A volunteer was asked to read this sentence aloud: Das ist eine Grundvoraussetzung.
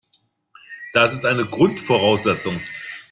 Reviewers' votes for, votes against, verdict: 2, 0, accepted